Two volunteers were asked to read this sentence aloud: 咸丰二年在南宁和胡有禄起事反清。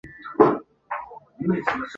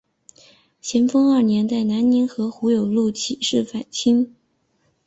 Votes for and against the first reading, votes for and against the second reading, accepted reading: 0, 2, 3, 0, second